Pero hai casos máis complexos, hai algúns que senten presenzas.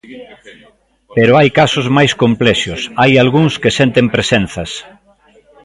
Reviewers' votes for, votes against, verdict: 0, 3, rejected